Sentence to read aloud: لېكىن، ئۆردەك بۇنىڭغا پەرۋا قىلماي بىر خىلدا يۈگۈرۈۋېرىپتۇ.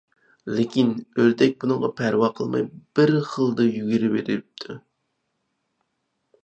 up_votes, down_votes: 4, 0